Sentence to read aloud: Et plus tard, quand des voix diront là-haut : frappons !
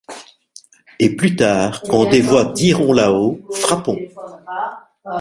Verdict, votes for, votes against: rejected, 1, 2